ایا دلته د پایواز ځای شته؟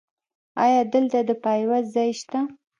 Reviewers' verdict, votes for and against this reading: rejected, 1, 2